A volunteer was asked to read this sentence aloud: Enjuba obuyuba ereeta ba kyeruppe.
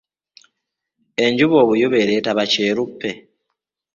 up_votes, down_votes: 1, 2